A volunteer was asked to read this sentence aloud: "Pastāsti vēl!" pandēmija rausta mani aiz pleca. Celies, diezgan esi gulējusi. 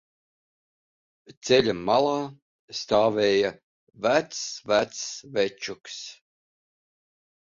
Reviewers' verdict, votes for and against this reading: rejected, 0, 3